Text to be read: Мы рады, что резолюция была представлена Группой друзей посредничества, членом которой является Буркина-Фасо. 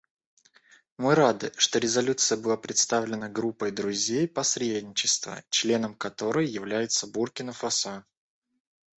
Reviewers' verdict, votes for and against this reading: rejected, 1, 2